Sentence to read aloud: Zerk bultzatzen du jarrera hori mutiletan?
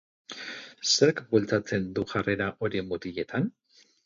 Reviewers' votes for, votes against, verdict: 4, 0, accepted